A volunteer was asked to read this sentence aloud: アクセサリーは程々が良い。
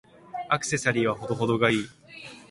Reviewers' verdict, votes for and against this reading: accepted, 2, 0